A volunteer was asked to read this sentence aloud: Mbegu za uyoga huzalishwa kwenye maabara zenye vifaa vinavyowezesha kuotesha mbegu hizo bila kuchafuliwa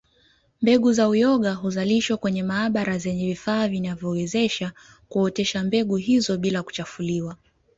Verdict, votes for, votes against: accepted, 2, 0